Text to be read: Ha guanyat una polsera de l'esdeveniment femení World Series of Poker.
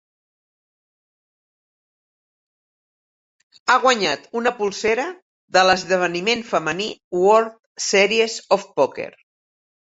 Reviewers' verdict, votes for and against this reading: accepted, 3, 0